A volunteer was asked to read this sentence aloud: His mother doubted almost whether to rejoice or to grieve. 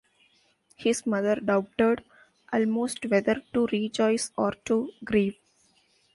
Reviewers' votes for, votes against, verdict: 2, 0, accepted